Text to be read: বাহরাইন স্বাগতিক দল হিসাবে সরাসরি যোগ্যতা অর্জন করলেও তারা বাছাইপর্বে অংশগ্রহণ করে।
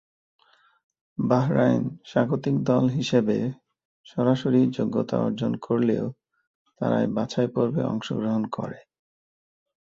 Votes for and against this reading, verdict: 0, 2, rejected